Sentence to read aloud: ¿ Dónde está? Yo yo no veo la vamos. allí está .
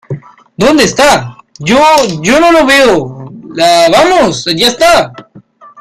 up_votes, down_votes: 0, 2